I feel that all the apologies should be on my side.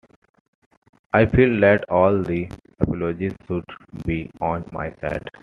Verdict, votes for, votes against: accepted, 2, 1